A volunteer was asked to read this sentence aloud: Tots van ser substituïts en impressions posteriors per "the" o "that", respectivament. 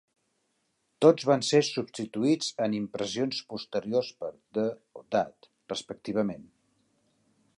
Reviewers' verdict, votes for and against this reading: accepted, 2, 1